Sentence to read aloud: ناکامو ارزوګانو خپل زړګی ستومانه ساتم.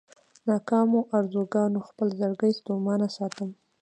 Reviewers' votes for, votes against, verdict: 1, 2, rejected